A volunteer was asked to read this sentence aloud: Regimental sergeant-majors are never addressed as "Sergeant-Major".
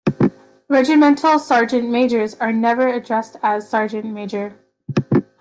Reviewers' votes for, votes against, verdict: 2, 0, accepted